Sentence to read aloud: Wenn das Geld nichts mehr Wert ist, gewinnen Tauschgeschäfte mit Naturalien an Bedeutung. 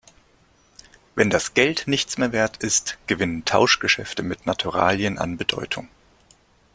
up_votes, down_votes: 2, 0